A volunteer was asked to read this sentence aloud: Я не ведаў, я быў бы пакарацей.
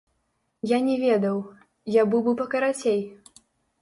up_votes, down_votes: 0, 2